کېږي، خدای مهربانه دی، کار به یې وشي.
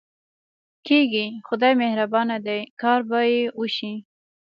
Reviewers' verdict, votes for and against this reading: accepted, 2, 0